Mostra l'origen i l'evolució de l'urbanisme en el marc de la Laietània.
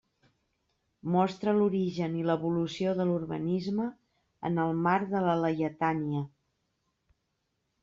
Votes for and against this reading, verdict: 2, 0, accepted